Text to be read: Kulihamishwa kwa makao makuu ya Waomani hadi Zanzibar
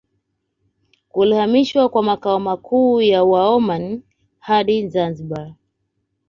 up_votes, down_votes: 2, 1